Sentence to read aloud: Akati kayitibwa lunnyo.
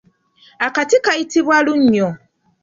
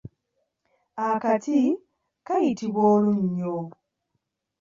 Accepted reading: first